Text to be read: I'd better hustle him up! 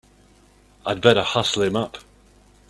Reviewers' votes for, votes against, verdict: 2, 0, accepted